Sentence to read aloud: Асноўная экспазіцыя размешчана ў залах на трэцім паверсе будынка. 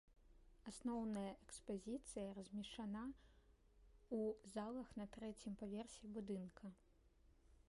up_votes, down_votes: 0, 2